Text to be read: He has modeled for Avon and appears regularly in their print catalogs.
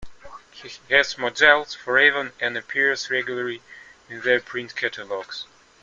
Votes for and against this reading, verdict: 1, 2, rejected